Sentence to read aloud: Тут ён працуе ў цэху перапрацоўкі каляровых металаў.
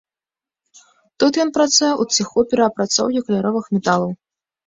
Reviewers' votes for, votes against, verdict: 1, 2, rejected